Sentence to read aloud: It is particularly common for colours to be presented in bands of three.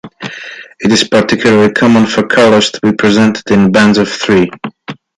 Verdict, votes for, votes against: accepted, 2, 0